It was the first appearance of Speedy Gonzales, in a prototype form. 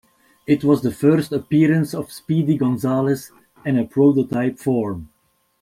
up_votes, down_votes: 2, 0